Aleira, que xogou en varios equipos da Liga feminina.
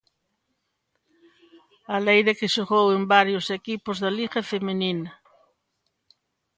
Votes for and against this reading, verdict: 2, 1, accepted